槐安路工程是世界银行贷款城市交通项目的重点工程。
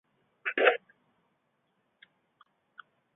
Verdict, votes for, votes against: rejected, 0, 2